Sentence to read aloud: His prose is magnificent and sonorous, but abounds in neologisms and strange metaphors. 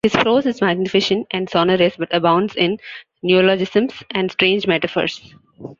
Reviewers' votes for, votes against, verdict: 0, 2, rejected